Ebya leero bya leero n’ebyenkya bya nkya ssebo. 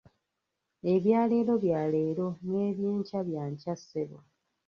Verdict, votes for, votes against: rejected, 1, 2